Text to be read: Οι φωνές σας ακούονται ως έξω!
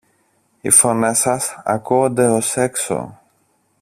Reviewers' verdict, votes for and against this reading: rejected, 1, 2